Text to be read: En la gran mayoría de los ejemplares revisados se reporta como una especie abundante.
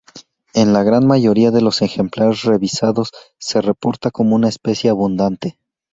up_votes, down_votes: 2, 0